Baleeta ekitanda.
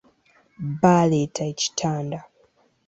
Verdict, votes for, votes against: accepted, 2, 0